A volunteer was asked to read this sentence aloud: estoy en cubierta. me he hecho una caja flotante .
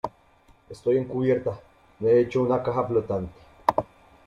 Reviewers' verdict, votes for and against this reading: rejected, 0, 2